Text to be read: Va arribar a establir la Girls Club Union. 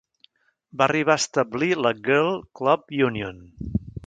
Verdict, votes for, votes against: rejected, 1, 2